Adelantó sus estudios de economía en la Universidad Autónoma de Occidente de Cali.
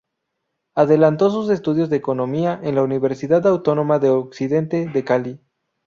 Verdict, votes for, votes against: rejected, 2, 2